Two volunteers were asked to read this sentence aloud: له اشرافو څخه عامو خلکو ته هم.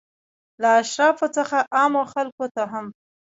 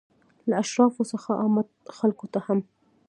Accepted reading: second